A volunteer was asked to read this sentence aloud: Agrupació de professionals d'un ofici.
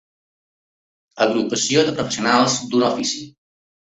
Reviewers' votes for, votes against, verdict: 0, 2, rejected